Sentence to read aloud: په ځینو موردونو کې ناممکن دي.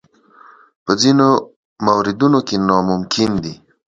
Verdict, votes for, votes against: accepted, 2, 0